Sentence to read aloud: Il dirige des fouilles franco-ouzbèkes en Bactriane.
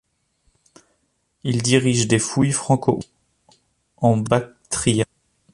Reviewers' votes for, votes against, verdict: 0, 2, rejected